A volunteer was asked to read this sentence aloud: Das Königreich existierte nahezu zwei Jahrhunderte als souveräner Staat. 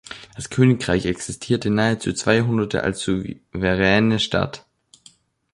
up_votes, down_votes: 0, 2